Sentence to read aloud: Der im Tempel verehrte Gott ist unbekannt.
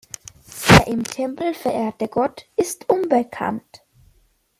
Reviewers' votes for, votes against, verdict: 1, 2, rejected